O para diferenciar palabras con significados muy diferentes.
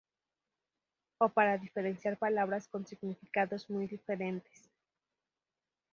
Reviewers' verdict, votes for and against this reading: rejected, 0, 2